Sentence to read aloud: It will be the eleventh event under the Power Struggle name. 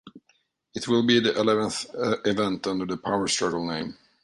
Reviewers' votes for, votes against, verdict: 2, 0, accepted